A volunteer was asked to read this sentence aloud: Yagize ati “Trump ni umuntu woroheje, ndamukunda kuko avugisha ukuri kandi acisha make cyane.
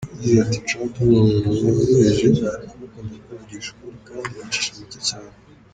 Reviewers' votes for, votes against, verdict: 1, 3, rejected